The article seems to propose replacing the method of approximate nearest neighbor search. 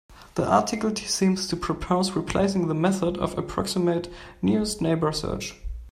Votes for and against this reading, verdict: 0, 2, rejected